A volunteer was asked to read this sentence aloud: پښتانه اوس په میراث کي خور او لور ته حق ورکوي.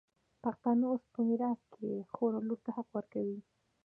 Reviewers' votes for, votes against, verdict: 2, 0, accepted